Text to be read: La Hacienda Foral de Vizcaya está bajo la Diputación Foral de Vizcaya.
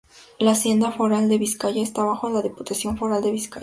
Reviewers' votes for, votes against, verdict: 4, 0, accepted